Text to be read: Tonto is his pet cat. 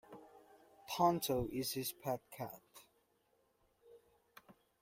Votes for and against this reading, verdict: 2, 0, accepted